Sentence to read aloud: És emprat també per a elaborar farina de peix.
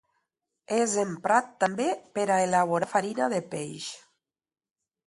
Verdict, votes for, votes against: rejected, 1, 2